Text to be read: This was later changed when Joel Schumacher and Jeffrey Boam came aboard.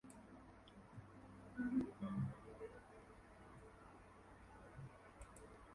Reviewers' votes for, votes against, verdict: 0, 2, rejected